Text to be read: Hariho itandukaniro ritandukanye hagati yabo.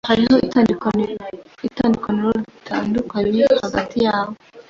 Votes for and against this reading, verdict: 1, 2, rejected